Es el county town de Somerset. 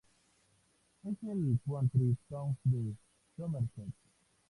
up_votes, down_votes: 0, 2